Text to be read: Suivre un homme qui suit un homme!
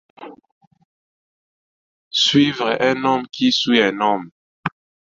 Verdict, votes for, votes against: accepted, 2, 0